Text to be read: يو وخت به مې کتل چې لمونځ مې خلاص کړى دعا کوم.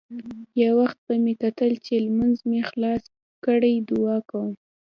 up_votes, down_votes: 2, 0